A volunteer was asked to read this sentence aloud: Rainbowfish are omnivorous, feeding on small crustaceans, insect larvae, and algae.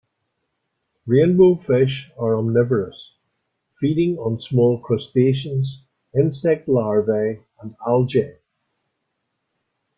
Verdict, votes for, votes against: rejected, 0, 3